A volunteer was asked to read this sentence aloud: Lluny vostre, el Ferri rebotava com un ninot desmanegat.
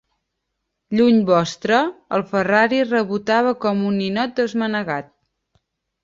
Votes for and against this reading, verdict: 1, 4, rejected